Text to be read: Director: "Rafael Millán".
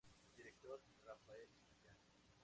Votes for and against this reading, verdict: 0, 2, rejected